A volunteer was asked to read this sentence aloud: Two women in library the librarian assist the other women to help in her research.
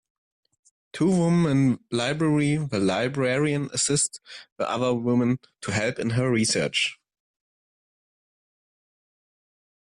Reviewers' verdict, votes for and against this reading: rejected, 0, 2